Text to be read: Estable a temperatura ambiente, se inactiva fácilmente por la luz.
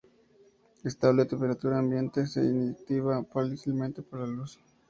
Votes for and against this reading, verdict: 2, 0, accepted